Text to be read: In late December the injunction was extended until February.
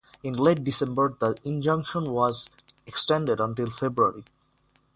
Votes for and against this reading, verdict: 3, 0, accepted